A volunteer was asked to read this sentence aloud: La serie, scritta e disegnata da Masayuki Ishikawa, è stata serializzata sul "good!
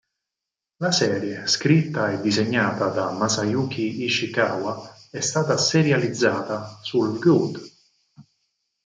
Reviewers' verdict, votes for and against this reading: accepted, 4, 2